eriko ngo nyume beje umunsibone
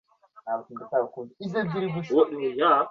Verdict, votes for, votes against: rejected, 0, 2